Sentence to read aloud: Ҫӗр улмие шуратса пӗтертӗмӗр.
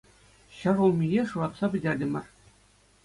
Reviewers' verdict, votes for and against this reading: accepted, 2, 0